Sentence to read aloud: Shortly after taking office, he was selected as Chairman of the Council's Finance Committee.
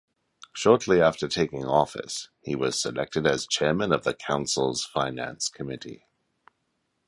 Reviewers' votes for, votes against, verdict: 2, 0, accepted